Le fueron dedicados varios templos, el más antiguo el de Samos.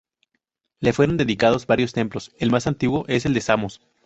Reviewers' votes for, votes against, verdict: 0, 2, rejected